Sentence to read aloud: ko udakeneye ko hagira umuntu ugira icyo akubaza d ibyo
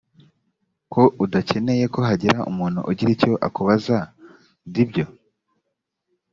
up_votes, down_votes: 2, 0